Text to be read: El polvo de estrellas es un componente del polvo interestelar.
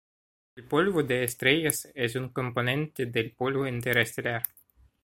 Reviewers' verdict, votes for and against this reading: accepted, 2, 0